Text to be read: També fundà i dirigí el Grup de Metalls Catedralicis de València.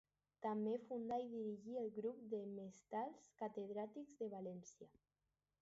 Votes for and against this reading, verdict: 0, 4, rejected